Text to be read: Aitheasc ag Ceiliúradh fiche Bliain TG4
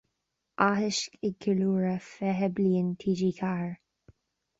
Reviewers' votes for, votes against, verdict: 0, 2, rejected